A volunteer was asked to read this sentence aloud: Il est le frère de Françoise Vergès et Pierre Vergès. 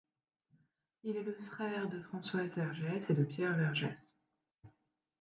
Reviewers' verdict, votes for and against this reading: rejected, 1, 2